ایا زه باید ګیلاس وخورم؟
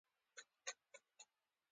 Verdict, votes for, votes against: accepted, 2, 0